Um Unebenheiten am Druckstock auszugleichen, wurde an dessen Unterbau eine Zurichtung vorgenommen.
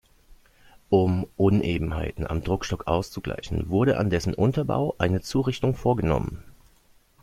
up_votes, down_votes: 2, 0